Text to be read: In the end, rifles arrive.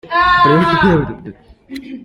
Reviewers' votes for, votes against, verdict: 0, 3, rejected